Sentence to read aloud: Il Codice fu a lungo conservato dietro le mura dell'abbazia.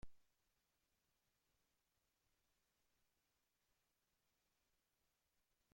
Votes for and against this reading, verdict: 0, 2, rejected